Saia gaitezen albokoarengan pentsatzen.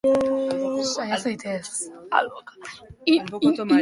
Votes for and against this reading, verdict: 0, 2, rejected